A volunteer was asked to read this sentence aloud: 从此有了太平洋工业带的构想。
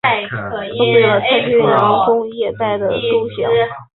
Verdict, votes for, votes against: rejected, 0, 2